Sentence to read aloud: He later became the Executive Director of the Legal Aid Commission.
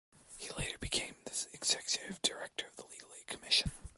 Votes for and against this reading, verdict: 2, 1, accepted